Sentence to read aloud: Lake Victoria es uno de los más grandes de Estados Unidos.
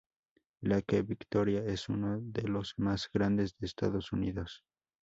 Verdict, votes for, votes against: accepted, 2, 0